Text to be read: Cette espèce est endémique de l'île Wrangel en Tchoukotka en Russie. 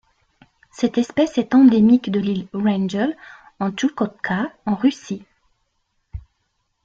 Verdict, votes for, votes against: accepted, 2, 0